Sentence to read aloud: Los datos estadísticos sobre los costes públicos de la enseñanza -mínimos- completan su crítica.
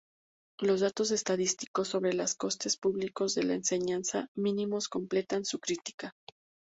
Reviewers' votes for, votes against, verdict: 2, 0, accepted